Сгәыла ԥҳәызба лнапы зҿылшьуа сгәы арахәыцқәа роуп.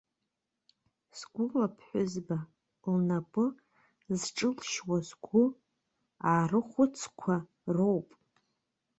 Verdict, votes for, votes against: rejected, 0, 2